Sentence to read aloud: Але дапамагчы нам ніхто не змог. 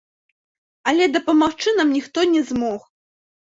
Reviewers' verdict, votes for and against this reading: rejected, 0, 2